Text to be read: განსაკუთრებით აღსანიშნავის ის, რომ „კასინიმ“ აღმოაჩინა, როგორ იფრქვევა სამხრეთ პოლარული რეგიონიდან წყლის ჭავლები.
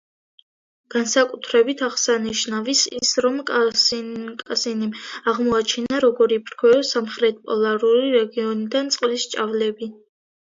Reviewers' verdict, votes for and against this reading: rejected, 0, 2